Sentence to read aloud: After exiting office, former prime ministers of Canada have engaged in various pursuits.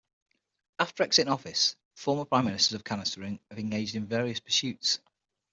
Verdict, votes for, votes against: rejected, 0, 6